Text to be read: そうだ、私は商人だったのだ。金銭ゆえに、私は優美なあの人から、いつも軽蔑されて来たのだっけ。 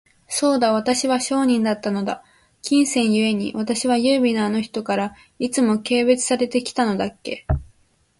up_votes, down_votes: 17, 3